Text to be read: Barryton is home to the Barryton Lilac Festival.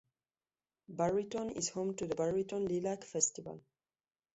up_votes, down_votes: 1, 2